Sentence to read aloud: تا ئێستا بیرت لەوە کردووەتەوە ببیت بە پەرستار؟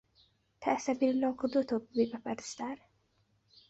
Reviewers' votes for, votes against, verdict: 3, 1, accepted